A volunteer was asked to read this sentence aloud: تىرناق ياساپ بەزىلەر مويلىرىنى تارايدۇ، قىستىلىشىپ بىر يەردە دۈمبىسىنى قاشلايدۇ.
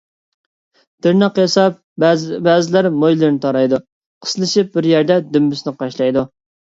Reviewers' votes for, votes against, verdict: 0, 2, rejected